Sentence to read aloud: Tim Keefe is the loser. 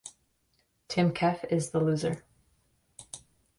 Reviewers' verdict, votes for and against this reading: accepted, 2, 0